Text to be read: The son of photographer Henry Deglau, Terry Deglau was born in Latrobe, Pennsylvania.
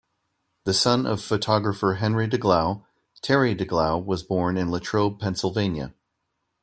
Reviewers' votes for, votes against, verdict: 2, 0, accepted